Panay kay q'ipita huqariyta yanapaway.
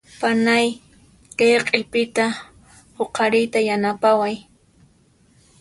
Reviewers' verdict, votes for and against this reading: accepted, 2, 0